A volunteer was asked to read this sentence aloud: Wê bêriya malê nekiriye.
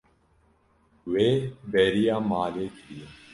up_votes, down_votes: 0, 2